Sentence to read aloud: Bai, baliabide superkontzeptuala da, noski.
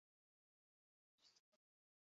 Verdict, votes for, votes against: rejected, 2, 2